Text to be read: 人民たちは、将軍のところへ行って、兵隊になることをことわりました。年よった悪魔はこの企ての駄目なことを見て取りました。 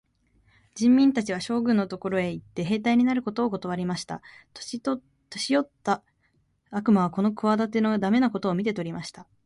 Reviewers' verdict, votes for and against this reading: rejected, 1, 2